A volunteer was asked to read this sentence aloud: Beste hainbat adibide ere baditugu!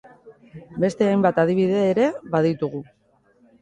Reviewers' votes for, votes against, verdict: 2, 0, accepted